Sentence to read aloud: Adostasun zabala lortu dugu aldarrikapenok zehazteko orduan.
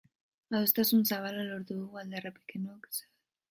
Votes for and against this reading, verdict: 0, 2, rejected